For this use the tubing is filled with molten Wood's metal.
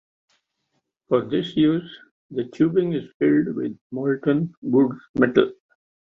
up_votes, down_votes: 2, 0